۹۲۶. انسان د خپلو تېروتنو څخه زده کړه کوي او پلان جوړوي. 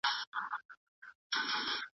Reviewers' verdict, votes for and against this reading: rejected, 0, 2